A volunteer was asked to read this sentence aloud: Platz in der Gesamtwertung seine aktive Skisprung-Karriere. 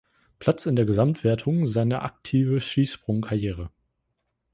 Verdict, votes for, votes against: rejected, 1, 2